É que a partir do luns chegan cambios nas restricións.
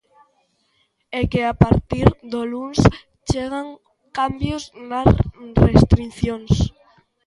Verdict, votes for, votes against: rejected, 0, 2